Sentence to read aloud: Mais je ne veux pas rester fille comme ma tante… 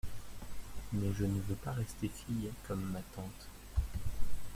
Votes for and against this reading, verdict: 0, 2, rejected